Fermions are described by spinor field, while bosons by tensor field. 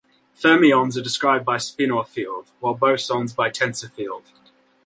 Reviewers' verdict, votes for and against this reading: accepted, 2, 0